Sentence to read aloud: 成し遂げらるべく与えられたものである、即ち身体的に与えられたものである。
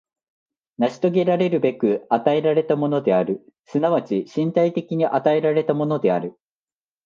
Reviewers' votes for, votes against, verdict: 2, 0, accepted